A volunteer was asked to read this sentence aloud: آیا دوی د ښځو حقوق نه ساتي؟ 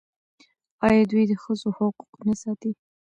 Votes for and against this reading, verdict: 1, 2, rejected